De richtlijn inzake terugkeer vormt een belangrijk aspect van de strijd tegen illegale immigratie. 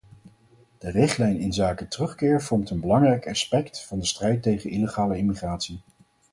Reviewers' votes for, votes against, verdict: 4, 0, accepted